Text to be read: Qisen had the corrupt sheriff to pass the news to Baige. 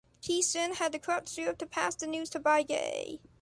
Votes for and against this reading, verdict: 0, 2, rejected